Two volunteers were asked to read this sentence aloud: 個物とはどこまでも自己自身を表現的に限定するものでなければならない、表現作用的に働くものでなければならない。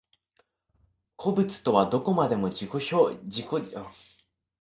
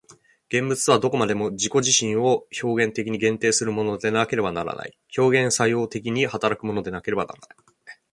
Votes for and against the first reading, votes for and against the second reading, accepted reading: 0, 2, 3, 1, second